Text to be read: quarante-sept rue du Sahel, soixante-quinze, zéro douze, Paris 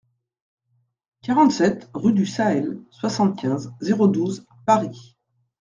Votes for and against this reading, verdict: 2, 0, accepted